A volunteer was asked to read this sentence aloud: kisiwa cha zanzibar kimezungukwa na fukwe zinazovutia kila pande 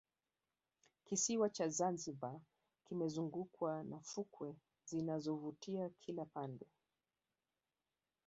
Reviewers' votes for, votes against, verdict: 2, 3, rejected